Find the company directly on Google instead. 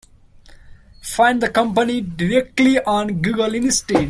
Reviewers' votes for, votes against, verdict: 1, 2, rejected